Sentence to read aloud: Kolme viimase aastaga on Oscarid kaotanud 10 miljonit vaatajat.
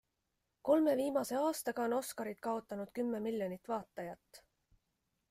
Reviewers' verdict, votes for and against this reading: rejected, 0, 2